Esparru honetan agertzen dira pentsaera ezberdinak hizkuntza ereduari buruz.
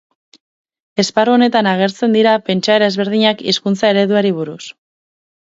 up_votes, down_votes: 6, 0